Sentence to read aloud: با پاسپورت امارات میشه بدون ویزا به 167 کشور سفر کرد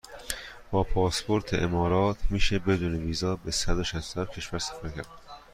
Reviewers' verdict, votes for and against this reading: rejected, 0, 2